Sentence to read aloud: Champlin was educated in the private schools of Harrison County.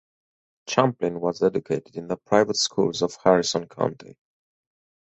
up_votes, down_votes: 4, 0